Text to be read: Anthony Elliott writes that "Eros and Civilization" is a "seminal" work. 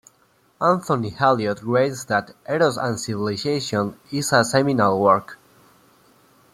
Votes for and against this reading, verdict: 2, 1, accepted